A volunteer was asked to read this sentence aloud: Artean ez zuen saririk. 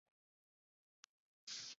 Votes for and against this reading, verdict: 0, 2, rejected